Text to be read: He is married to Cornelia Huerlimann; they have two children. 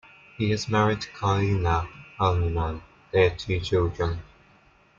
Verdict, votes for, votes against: rejected, 0, 2